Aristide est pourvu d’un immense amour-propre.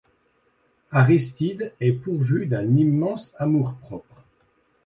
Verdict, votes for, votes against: accepted, 2, 0